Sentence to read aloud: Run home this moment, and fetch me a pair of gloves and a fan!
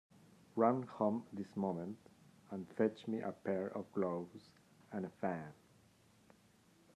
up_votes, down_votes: 2, 0